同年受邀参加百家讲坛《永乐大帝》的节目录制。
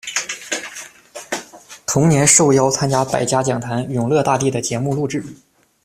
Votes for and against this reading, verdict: 2, 0, accepted